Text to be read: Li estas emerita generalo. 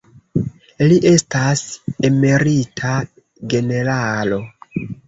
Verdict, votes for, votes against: rejected, 0, 2